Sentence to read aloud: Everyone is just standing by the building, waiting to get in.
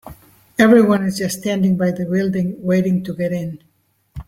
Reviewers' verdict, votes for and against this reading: accepted, 3, 0